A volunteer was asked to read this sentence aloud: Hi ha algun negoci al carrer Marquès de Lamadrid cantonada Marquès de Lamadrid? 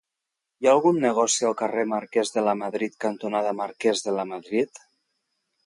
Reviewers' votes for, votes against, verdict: 1, 2, rejected